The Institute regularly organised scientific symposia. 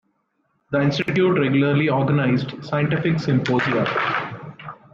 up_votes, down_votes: 1, 2